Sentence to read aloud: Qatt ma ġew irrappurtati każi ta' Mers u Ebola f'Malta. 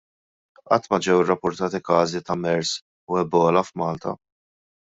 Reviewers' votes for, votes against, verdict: 1, 2, rejected